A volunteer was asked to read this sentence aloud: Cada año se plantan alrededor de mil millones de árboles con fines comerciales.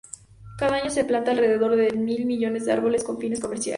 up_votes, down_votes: 0, 2